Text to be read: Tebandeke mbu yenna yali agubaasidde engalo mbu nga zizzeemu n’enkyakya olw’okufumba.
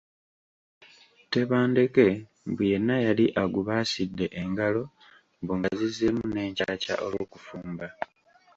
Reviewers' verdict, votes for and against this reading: accepted, 2, 0